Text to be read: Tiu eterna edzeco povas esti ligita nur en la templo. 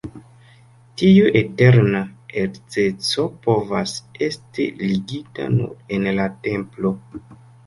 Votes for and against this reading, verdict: 2, 0, accepted